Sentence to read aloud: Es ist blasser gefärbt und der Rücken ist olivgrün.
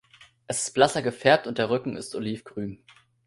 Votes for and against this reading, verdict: 2, 0, accepted